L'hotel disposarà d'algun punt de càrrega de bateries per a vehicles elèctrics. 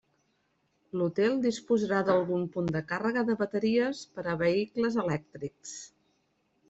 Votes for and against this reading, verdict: 3, 0, accepted